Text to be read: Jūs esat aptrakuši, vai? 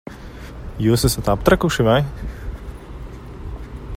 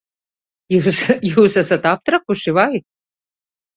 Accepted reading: first